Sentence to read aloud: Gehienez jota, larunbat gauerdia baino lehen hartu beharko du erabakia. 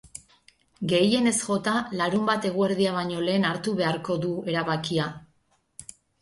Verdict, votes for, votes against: rejected, 2, 4